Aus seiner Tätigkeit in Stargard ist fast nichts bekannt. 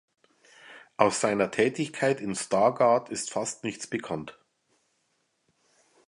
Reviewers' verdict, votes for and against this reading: accepted, 3, 0